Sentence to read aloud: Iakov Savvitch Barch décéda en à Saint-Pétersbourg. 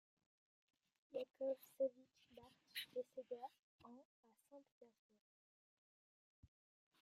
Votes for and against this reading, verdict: 0, 2, rejected